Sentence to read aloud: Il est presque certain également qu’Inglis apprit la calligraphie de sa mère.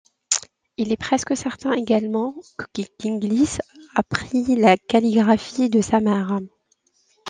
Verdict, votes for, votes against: accepted, 2, 0